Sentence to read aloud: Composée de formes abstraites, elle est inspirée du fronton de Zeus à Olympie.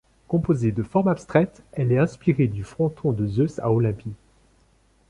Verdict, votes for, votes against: accepted, 2, 0